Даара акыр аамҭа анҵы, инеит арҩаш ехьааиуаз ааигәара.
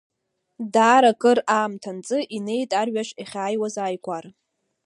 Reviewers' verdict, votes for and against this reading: rejected, 1, 2